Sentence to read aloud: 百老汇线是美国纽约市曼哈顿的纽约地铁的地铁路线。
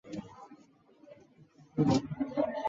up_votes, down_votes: 0, 3